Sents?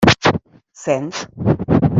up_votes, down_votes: 1, 2